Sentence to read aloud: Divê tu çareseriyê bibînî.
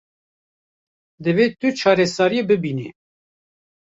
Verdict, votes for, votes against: rejected, 1, 2